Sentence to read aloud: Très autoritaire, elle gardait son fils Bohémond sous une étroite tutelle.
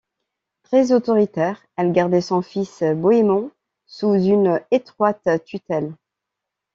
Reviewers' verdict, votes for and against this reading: accepted, 2, 0